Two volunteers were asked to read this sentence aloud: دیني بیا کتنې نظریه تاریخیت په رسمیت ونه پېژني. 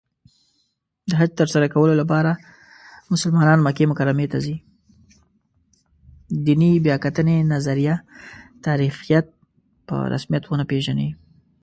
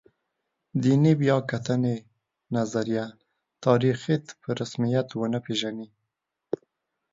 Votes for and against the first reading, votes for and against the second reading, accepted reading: 1, 2, 2, 0, second